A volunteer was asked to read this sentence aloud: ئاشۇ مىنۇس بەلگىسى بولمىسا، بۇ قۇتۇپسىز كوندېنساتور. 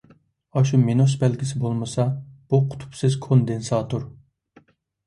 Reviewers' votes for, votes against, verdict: 2, 0, accepted